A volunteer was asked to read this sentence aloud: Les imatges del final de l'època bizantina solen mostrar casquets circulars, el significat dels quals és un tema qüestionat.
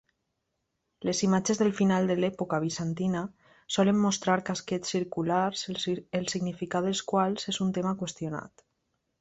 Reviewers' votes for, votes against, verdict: 1, 2, rejected